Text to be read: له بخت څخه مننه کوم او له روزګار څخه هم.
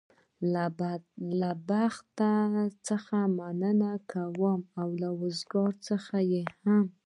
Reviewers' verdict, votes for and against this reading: rejected, 1, 2